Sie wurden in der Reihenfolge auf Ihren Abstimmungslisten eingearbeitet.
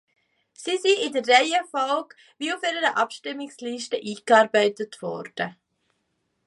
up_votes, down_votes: 0, 2